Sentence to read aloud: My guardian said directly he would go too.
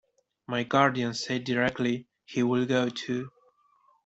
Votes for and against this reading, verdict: 1, 2, rejected